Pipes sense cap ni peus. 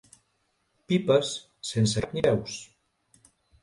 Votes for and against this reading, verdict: 0, 2, rejected